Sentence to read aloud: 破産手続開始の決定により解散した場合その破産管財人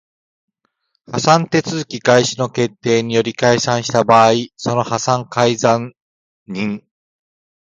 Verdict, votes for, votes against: rejected, 0, 2